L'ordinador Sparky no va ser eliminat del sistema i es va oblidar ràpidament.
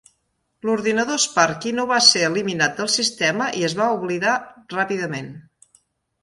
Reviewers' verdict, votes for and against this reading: accepted, 3, 0